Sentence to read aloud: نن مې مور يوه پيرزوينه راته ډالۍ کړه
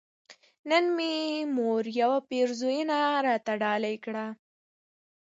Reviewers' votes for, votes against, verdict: 1, 2, rejected